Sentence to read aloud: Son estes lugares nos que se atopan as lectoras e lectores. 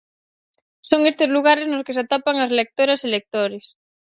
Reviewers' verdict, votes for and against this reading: accepted, 4, 0